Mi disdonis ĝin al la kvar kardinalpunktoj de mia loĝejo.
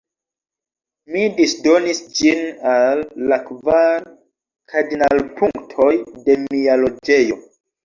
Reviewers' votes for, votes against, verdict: 0, 2, rejected